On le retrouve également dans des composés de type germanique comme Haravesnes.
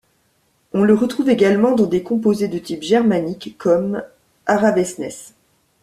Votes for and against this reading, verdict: 0, 2, rejected